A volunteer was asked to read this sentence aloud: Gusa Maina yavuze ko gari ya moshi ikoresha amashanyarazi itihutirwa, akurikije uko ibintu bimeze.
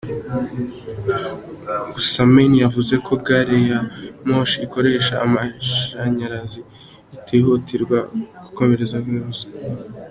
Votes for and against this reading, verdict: 0, 2, rejected